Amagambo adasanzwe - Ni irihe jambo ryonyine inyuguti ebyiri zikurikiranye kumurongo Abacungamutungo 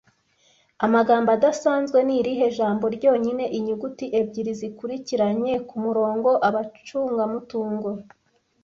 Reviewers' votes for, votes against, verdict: 1, 2, rejected